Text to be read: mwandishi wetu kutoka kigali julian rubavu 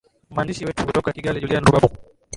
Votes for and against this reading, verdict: 0, 2, rejected